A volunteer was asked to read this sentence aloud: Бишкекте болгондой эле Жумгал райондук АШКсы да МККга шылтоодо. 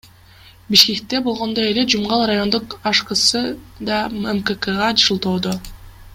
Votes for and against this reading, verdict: 2, 0, accepted